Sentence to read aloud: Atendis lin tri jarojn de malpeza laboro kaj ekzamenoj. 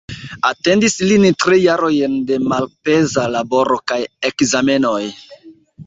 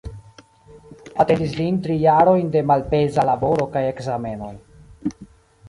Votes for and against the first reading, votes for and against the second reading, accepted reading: 2, 1, 1, 2, first